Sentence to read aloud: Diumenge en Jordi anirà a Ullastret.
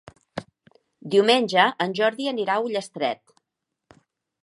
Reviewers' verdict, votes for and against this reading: accepted, 2, 0